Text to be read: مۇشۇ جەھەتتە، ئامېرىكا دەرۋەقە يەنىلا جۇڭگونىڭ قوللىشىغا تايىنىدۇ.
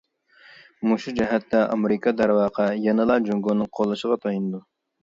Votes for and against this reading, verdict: 2, 0, accepted